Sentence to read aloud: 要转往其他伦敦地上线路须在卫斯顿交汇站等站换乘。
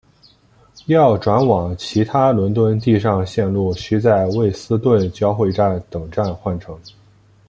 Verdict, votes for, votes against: accepted, 2, 0